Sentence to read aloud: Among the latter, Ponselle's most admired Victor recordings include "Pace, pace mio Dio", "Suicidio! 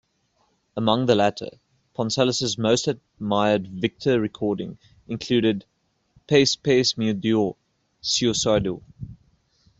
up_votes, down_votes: 0, 2